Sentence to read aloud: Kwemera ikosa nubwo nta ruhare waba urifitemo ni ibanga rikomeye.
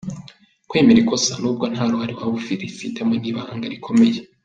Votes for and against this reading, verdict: 0, 2, rejected